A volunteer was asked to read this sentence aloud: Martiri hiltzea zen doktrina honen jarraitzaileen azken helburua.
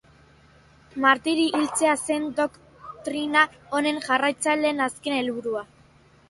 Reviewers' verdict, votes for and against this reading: accepted, 2, 0